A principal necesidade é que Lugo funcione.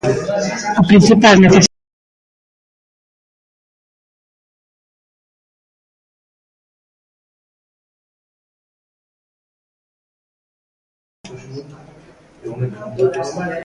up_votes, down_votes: 0, 2